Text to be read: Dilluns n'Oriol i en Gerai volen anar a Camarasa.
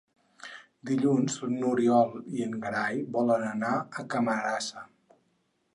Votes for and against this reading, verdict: 4, 0, accepted